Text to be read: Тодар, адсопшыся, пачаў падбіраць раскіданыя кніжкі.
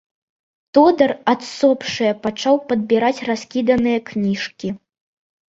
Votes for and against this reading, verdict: 0, 2, rejected